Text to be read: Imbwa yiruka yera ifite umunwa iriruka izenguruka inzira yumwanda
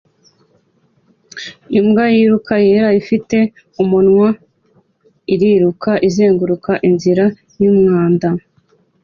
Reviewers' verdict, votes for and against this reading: accepted, 3, 0